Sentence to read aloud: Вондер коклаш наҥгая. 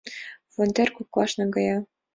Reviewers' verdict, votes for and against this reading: accepted, 3, 0